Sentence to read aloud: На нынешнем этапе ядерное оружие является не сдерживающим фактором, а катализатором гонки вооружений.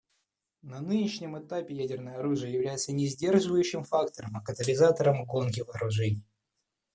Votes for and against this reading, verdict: 2, 0, accepted